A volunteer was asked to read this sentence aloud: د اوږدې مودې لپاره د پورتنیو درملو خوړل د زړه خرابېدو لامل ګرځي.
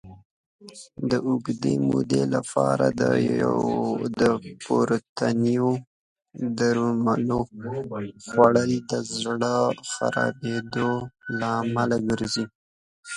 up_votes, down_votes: 1, 2